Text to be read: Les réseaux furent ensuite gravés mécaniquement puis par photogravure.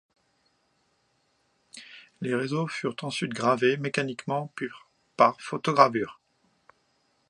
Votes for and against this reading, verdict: 2, 0, accepted